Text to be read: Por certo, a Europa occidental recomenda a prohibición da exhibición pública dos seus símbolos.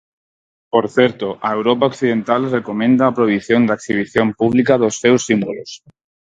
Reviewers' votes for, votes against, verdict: 4, 0, accepted